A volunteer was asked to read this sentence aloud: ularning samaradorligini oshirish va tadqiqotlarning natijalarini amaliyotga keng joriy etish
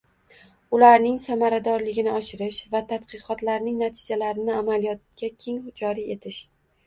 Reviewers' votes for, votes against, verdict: 2, 0, accepted